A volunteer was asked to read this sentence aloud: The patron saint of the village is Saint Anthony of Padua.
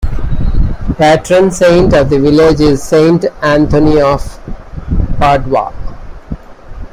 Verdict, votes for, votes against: rejected, 0, 2